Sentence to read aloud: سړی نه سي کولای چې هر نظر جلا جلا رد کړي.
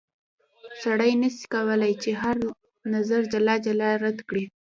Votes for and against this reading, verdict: 1, 2, rejected